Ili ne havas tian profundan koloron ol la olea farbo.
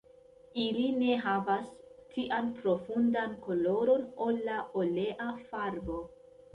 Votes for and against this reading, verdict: 0, 2, rejected